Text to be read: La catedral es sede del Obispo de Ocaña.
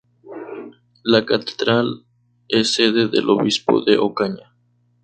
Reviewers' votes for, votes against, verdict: 2, 2, rejected